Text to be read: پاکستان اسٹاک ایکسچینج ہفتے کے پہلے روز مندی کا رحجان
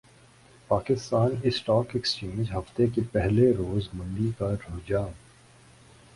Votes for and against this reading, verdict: 6, 2, accepted